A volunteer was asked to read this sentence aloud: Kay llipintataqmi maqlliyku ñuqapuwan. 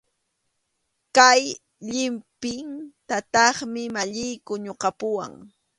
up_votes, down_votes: 2, 1